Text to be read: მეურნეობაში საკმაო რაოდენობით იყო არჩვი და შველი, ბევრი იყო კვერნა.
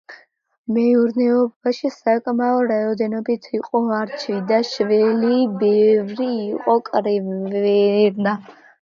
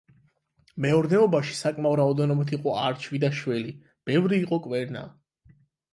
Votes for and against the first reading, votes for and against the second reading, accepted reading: 0, 2, 8, 0, second